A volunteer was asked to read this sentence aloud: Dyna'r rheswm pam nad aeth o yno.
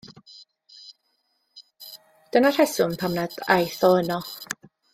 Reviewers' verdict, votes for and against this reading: accepted, 2, 0